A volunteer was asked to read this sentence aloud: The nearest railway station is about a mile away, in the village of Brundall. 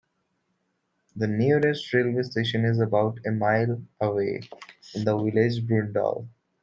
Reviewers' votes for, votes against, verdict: 2, 0, accepted